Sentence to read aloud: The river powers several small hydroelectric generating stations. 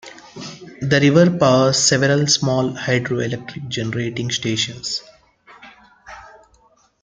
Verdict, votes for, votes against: accepted, 2, 0